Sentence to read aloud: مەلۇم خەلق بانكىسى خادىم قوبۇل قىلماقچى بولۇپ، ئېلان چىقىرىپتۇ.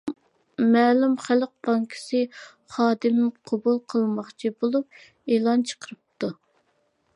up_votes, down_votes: 2, 0